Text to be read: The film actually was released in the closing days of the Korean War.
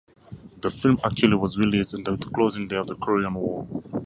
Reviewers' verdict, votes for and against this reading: accepted, 4, 0